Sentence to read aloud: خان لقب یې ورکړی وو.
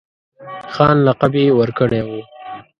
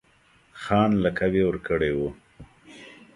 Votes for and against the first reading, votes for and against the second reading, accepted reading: 1, 2, 2, 1, second